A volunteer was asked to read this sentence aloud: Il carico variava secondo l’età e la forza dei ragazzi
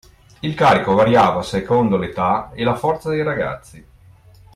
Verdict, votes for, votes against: accepted, 2, 0